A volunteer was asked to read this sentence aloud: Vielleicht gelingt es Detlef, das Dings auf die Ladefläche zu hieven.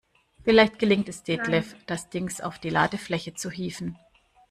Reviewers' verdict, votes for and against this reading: accepted, 2, 0